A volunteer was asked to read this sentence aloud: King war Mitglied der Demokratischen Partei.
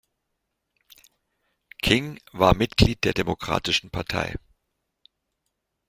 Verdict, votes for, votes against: accepted, 2, 0